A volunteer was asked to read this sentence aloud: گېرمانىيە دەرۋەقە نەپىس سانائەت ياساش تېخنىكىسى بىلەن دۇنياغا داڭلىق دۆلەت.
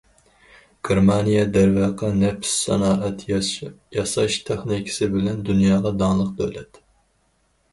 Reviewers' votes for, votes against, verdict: 0, 4, rejected